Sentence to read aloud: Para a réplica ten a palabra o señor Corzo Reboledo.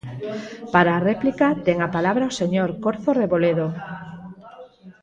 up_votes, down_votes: 0, 4